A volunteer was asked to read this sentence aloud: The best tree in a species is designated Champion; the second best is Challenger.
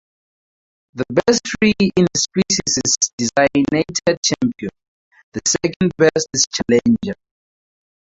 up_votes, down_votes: 0, 2